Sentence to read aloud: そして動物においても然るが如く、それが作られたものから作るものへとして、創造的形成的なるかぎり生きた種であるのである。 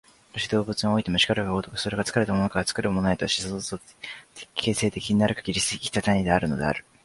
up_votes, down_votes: 3, 5